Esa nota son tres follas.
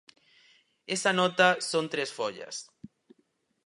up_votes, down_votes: 4, 0